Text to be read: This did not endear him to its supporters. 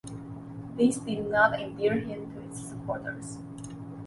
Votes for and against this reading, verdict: 2, 1, accepted